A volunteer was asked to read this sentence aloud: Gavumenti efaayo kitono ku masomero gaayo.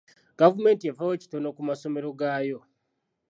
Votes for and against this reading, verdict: 2, 1, accepted